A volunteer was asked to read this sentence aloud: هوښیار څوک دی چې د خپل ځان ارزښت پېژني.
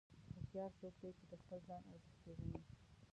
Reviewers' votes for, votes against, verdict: 1, 2, rejected